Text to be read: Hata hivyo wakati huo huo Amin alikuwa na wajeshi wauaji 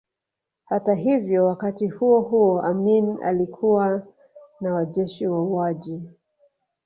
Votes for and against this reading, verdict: 2, 0, accepted